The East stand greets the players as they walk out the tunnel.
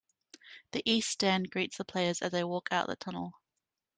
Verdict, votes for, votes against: rejected, 0, 2